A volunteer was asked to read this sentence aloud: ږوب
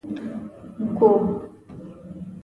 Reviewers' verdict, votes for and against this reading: rejected, 0, 2